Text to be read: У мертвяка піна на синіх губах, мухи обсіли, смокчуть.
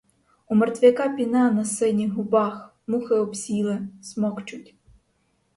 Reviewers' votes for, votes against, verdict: 4, 0, accepted